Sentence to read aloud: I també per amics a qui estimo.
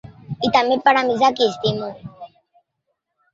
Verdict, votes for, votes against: rejected, 0, 2